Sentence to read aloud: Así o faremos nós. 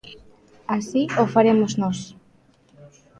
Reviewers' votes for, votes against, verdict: 2, 0, accepted